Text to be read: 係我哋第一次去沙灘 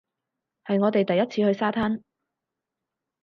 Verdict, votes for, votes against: accepted, 6, 0